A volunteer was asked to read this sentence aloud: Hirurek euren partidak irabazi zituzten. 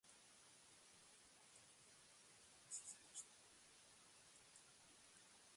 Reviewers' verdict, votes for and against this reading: rejected, 0, 2